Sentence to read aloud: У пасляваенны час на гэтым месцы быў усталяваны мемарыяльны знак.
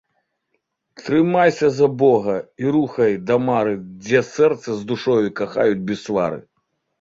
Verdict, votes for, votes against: rejected, 0, 2